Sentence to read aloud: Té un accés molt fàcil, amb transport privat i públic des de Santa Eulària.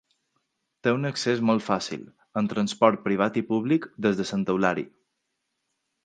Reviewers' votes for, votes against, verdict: 0, 2, rejected